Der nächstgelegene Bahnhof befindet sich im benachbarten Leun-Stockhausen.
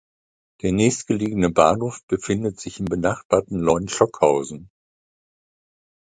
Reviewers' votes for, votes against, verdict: 2, 0, accepted